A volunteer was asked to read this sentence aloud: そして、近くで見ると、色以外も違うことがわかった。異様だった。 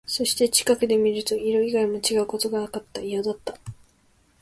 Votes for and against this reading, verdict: 3, 0, accepted